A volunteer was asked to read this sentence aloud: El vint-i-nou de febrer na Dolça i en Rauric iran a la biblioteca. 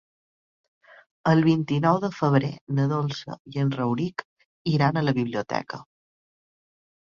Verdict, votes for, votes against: accepted, 3, 0